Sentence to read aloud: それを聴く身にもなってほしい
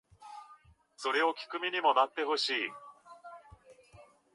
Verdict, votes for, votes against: rejected, 0, 2